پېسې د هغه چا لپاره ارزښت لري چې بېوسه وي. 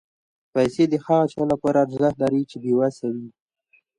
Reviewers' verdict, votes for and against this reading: accepted, 2, 0